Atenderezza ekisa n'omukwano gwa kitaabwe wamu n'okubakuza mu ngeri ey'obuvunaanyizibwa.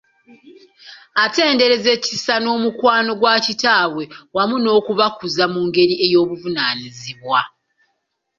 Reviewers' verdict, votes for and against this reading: accepted, 2, 0